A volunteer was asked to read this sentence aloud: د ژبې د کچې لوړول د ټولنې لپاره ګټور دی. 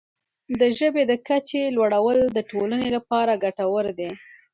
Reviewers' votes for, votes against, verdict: 2, 0, accepted